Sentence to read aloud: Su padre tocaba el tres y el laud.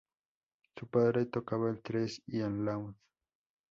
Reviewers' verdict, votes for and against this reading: rejected, 0, 2